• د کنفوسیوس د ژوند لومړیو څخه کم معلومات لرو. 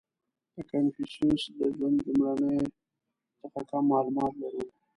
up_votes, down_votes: 0, 2